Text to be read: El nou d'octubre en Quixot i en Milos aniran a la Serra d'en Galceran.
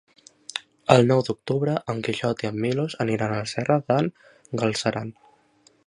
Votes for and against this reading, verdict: 2, 1, accepted